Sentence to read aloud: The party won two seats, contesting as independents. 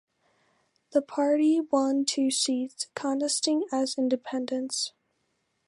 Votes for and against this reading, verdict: 2, 1, accepted